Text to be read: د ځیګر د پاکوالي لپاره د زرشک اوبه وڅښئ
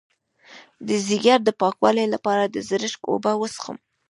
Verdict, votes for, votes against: rejected, 0, 2